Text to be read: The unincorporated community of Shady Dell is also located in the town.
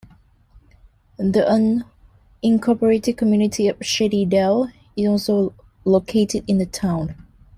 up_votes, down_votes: 2, 1